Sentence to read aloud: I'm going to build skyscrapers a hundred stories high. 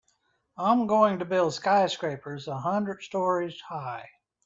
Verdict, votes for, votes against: accepted, 4, 0